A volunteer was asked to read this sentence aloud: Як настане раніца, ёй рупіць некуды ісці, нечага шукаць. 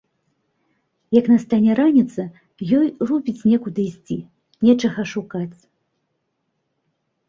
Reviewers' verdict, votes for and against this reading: accepted, 2, 0